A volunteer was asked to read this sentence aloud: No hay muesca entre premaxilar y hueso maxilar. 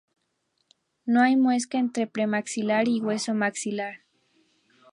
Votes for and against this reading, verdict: 4, 0, accepted